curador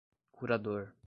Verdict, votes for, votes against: accepted, 2, 0